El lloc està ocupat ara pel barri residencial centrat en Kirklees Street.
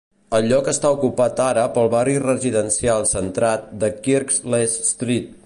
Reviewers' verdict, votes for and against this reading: rejected, 1, 2